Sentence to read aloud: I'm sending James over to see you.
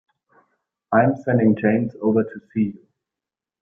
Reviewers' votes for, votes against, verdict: 1, 2, rejected